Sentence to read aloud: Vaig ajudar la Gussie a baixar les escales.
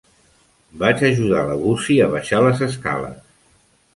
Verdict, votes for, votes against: accepted, 2, 0